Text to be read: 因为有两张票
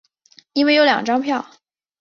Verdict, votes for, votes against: accepted, 5, 0